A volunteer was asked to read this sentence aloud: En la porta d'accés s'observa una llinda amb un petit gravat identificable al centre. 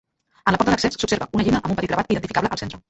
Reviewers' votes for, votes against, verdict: 0, 2, rejected